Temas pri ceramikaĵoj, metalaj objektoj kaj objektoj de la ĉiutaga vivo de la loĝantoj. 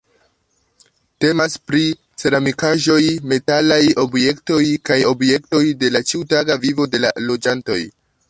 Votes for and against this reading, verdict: 2, 0, accepted